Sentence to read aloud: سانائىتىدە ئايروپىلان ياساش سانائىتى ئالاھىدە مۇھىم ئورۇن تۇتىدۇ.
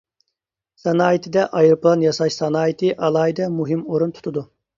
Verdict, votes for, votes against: accepted, 2, 0